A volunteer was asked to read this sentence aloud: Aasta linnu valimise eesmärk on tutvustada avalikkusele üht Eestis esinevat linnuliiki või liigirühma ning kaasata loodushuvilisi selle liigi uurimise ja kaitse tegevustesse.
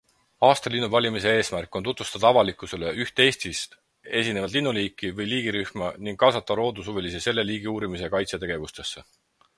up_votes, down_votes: 4, 2